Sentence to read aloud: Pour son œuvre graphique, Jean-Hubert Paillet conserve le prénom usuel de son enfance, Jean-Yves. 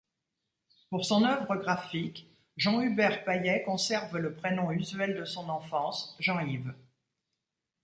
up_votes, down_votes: 2, 0